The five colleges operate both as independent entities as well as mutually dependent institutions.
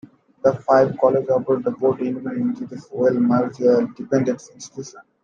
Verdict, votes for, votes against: rejected, 0, 2